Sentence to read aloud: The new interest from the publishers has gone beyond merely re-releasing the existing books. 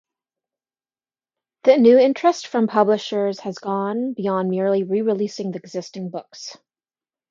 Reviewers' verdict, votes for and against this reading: rejected, 1, 2